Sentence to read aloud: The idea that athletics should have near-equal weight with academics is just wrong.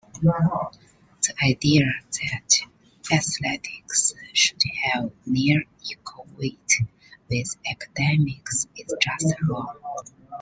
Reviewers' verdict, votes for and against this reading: rejected, 1, 2